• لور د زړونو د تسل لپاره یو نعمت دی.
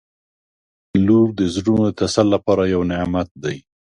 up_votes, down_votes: 2, 0